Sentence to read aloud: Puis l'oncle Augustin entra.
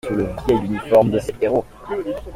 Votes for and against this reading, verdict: 0, 2, rejected